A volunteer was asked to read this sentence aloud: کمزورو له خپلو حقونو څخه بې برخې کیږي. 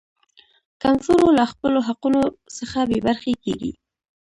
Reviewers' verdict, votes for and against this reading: rejected, 1, 2